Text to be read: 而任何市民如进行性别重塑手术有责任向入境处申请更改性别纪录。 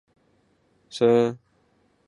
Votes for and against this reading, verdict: 0, 2, rejected